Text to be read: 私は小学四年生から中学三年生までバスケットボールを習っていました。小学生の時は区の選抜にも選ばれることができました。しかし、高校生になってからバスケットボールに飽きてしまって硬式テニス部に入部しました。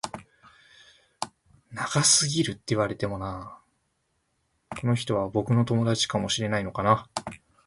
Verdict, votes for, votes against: rejected, 0, 3